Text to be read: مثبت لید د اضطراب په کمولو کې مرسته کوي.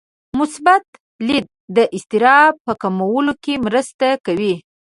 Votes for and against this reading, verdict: 2, 0, accepted